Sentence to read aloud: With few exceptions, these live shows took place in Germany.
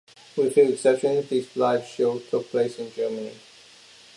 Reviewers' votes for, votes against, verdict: 2, 1, accepted